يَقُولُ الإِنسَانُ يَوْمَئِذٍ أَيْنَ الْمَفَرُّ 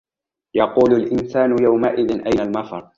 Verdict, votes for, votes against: accepted, 2, 0